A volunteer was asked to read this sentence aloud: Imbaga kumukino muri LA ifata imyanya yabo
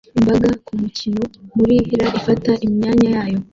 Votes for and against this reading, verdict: 1, 2, rejected